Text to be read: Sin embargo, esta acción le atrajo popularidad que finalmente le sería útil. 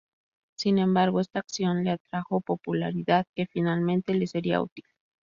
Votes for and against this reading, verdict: 2, 0, accepted